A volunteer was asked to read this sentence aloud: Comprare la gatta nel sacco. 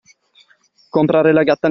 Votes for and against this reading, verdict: 0, 2, rejected